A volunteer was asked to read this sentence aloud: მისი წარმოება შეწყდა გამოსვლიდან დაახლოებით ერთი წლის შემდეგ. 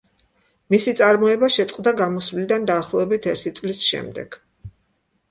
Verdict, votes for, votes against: accepted, 2, 0